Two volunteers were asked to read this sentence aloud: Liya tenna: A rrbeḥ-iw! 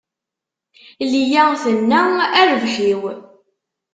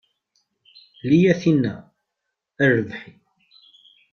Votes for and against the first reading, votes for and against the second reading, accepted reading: 2, 0, 0, 2, first